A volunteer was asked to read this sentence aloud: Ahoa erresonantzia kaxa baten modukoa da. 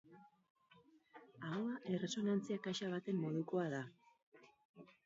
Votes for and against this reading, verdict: 2, 2, rejected